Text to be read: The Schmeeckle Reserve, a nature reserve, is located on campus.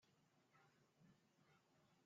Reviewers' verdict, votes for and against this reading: rejected, 0, 2